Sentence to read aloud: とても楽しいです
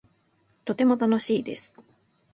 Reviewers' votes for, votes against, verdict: 2, 0, accepted